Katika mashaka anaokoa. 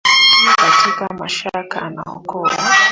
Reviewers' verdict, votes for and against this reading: rejected, 0, 3